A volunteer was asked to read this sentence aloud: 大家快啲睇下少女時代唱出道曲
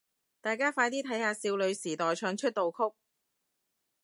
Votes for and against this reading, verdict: 2, 0, accepted